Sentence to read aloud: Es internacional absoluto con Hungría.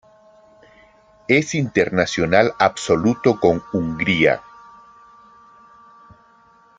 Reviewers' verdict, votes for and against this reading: accepted, 2, 0